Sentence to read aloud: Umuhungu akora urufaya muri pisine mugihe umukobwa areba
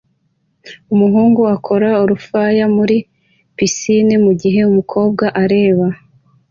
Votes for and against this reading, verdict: 2, 0, accepted